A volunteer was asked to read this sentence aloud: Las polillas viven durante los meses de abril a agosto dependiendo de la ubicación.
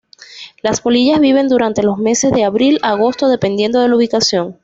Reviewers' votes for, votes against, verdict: 2, 0, accepted